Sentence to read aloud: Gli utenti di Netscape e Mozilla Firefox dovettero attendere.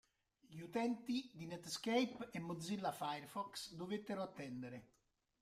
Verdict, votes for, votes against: accepted, 4, 1